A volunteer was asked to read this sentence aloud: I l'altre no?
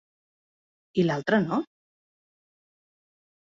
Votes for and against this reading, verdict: 3, 0, accepted